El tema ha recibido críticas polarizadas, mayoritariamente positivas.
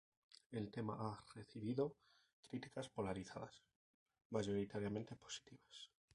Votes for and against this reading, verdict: 2, 2, rejected